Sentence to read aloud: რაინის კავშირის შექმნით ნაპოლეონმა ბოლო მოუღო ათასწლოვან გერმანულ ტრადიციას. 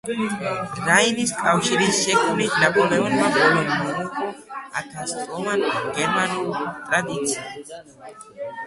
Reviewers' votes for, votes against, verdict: 1, 2, rejected